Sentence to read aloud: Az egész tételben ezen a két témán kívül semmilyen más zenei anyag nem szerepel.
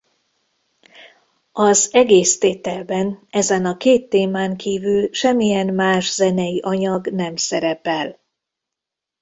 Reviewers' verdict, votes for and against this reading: accepted, 2, 0